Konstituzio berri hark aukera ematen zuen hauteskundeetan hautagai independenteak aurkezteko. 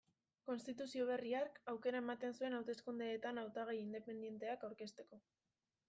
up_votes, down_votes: 2, 1